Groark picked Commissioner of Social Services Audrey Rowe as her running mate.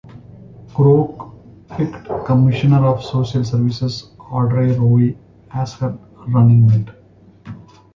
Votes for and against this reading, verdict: 2, 0, accepted